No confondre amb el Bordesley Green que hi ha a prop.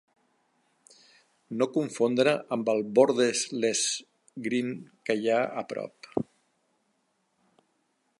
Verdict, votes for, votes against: rejected, 0, 2